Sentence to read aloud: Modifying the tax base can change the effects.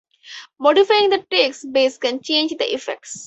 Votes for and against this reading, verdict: 4, 0, accepted